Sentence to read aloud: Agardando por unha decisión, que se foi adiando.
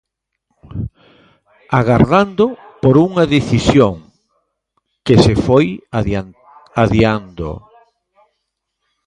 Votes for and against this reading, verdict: 1, 2, rejected